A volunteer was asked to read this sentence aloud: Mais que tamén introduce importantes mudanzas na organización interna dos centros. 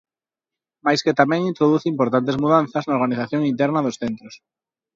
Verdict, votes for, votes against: accepted, 2, 1